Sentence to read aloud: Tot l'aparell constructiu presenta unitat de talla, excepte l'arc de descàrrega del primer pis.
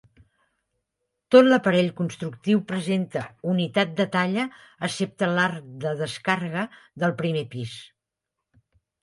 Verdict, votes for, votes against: accepted, 5, 0